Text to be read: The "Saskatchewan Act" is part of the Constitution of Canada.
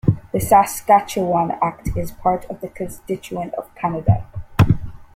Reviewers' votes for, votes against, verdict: 0, 2, rejected